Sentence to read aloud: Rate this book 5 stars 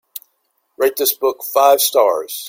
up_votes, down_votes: 0, 2